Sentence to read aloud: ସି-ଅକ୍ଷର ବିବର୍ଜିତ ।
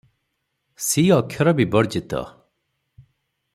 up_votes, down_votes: 0, 3